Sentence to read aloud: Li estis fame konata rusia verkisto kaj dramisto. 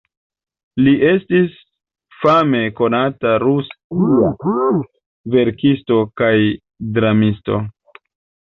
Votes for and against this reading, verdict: 1, 2, rejected